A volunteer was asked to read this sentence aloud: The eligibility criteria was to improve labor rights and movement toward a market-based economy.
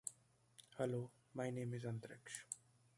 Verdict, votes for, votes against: rejected, 0, 2